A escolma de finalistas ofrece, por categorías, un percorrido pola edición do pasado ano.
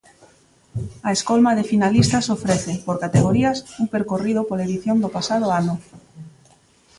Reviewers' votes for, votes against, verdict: 2, 0, accepted